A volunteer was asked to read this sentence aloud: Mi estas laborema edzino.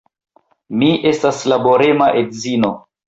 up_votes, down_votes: 2, 1